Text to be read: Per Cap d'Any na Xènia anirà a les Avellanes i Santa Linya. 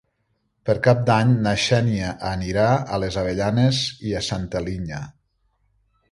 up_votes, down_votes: 0, 2